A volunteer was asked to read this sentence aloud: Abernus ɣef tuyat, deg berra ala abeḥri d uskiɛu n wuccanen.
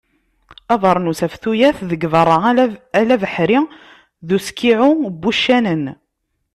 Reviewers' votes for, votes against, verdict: 0, 2, rejected